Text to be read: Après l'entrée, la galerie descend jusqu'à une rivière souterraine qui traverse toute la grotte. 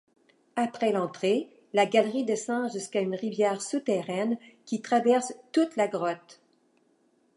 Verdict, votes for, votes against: accepted, 2, 0